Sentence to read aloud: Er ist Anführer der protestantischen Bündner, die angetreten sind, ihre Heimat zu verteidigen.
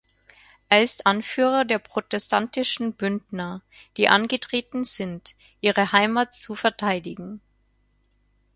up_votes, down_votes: 4, 0